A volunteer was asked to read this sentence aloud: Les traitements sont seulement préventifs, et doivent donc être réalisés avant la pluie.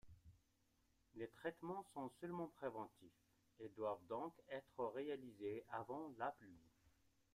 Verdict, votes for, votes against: accepted, 2, 0